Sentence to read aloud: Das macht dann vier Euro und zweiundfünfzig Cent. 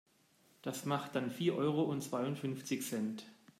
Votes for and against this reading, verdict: 2, 0, accepted